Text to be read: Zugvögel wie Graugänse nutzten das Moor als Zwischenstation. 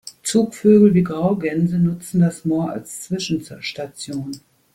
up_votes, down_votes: 0, 2